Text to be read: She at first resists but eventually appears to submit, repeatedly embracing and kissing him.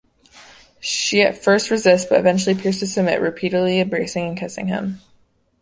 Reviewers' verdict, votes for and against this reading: accepted, 2, 0